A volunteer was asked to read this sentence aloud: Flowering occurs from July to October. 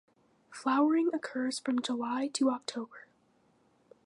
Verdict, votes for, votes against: accepted, 2, 0